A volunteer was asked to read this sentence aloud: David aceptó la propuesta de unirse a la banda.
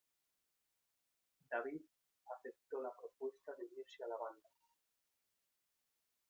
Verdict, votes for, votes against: rejected, 1, 2